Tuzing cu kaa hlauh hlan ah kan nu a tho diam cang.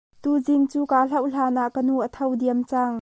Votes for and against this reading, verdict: 2, 0, accepted